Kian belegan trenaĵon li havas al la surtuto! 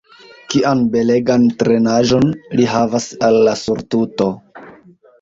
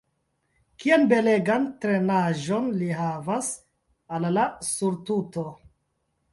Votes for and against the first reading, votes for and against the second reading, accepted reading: 2, 0, 0, 2, first